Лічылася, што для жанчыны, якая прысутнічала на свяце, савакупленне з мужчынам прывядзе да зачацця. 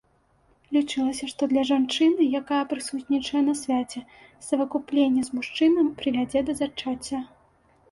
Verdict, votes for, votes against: rejected, 1, 2